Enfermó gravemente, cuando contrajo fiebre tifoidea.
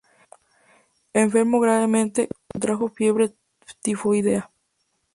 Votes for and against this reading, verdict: 2, 2, rejected